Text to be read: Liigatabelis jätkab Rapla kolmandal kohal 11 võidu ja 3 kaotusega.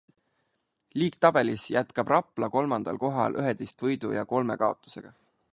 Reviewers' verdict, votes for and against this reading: rejected, 0, 2